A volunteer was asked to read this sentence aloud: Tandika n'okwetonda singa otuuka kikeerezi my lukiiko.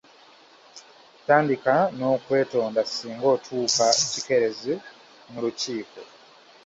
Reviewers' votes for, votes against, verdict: 3, 2, accepted